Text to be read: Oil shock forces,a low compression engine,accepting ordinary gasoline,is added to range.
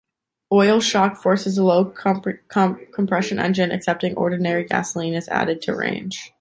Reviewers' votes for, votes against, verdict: 1, 2, rejected